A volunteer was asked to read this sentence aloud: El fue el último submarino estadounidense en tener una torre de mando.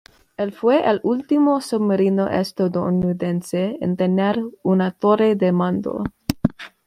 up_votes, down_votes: 2, 1